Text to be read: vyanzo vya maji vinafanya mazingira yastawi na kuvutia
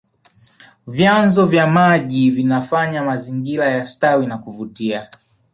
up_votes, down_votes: 2, 0